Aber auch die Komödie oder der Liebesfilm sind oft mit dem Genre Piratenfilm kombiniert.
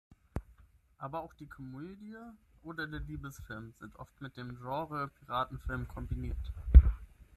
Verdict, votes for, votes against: accepted, 6, 0